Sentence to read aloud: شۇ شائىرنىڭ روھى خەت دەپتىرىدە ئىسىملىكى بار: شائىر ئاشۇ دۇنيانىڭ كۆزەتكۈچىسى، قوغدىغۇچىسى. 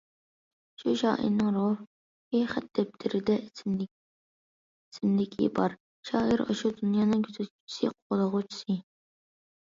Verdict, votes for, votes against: rejected, 0, 2